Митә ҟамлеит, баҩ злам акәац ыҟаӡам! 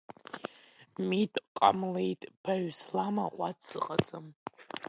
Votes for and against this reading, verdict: 0, 2, rejected